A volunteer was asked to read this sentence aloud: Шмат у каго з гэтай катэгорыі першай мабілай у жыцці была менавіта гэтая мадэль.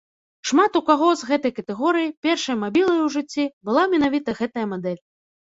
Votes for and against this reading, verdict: 3, 0, accepted